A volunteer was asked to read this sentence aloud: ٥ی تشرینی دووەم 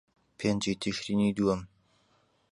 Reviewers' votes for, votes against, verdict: 0, 2, rejected